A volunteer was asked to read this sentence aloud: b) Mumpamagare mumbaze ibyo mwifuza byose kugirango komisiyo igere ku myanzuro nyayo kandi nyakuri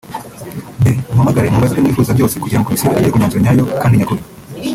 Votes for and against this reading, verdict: 1, 2, rejected